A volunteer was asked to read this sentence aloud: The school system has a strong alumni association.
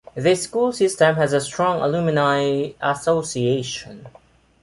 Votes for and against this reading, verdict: 1, 2, rejected